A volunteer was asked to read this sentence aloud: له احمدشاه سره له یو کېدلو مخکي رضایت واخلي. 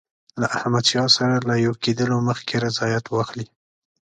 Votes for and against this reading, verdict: 2, 0, accepted